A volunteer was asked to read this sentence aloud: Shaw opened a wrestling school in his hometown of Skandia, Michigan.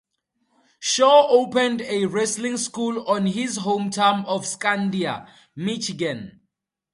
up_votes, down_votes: 0, 2